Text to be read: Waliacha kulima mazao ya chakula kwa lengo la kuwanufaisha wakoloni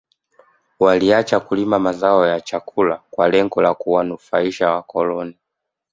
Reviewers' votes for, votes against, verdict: 2, 0, accepted